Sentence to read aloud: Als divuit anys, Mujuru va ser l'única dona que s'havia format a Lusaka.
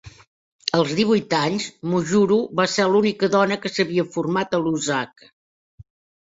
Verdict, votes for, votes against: accepted, 2, 1